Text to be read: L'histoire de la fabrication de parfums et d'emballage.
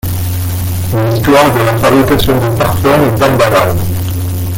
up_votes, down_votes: 0, 2